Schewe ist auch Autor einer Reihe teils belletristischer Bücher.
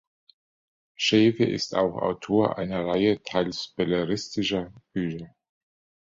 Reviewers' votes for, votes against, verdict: 1, 2, rejected